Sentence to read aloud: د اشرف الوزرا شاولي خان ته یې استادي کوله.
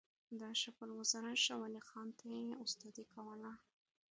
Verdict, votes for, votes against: accepted, 2, 1